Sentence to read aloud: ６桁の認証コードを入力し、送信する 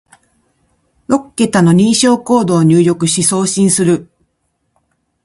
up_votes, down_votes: 0, 2